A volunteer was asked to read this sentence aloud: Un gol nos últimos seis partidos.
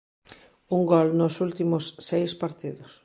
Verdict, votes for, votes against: accepted, 2, 0